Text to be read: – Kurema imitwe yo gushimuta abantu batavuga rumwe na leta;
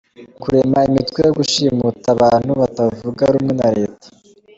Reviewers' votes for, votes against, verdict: 2, 0, accepted